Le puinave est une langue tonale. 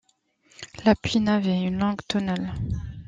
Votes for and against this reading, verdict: 1, 2, rejected